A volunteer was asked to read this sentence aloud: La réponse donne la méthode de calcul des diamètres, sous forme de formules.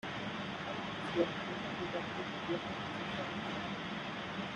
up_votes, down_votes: 0, 2